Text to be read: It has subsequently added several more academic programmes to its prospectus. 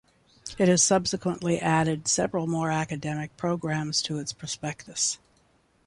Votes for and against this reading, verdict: 2, 0, accepted